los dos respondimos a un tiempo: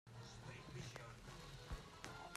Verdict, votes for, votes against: rejected, 0, 2